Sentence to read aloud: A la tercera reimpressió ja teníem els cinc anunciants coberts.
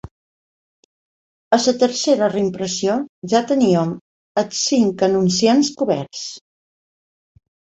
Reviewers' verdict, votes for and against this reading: accepted, 2, 0